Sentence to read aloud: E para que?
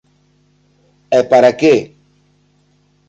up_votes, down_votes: 3, 0